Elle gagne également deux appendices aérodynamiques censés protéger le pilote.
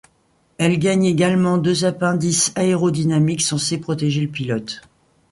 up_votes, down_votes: 2, 0